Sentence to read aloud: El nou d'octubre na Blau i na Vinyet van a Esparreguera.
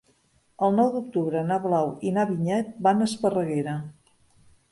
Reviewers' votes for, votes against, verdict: 5, 0, accepted